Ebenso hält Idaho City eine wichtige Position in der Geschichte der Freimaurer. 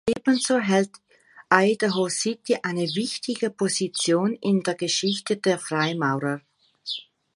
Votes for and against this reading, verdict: 2, 1, accepted